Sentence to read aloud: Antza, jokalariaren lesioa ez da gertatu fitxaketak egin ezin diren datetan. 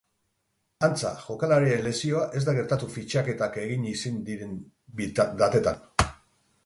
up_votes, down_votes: 2, 2